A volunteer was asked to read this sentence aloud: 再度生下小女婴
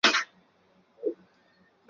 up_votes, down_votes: 0, 2